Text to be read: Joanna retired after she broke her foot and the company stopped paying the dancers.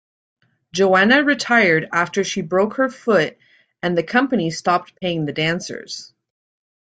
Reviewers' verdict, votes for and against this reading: accepted, 2, 0